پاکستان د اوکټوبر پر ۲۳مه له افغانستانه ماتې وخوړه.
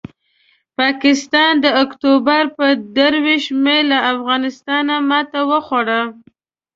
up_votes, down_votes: 0, 2